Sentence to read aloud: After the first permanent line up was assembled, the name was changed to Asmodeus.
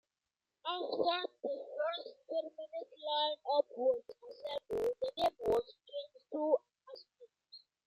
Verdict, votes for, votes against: rejected, 0, 2